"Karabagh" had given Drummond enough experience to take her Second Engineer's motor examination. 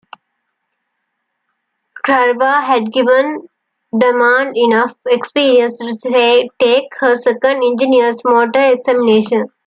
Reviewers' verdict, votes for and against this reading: accepted, 2, 1